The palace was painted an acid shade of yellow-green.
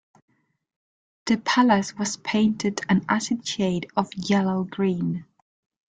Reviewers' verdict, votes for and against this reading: accepted, 2, 0